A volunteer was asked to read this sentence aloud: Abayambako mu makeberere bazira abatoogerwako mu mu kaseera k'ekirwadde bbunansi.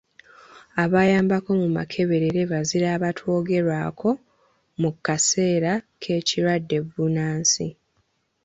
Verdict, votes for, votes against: accepted, 2, 0